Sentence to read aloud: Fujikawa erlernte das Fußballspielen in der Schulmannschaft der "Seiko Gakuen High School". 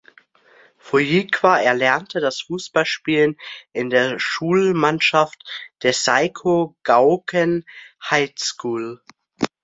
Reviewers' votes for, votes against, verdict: 0, 2, rejected